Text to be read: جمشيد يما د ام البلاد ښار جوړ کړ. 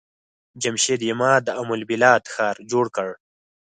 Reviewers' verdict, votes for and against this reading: accepted, 4, 0